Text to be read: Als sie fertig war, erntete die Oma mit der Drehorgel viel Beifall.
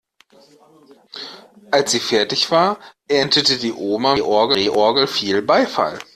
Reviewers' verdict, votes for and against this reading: rejected, 0, 2